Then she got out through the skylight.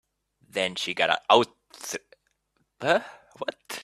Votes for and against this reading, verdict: 0, 2, rejected